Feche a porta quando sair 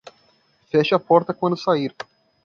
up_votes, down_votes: 2, 0